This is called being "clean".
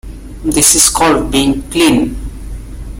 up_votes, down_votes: 2, 0